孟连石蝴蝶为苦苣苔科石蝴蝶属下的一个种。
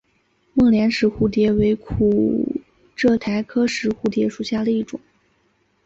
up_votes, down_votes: 0, 2